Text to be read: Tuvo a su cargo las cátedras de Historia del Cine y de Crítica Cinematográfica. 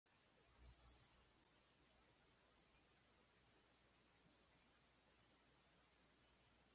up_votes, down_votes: 0, 2